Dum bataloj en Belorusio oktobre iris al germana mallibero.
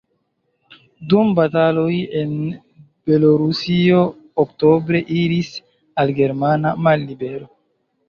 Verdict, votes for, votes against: accepted, 2, 0